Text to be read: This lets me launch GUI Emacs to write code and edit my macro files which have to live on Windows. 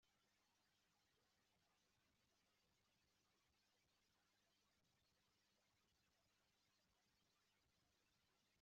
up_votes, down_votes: 0, 2